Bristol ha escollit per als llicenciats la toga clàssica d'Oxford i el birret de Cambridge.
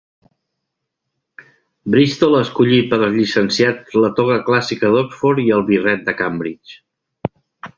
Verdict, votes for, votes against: rejected, 1, 2